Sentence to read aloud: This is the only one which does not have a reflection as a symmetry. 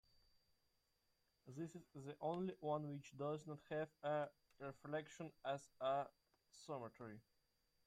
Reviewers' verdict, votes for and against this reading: rejected, 1, 2